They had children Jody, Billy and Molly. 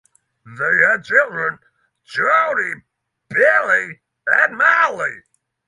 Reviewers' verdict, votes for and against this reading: accepted, 9, 0